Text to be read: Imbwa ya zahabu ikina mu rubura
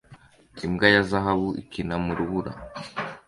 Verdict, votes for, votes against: accepted, 2, 0